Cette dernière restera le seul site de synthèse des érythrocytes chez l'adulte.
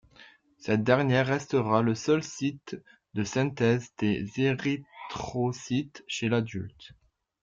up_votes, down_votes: 2, 1